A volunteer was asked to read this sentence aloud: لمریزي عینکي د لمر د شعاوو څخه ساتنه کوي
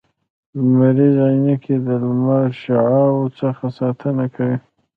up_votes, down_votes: 2, 0